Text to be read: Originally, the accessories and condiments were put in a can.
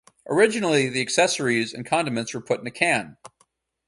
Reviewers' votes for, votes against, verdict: 4, 0, accepted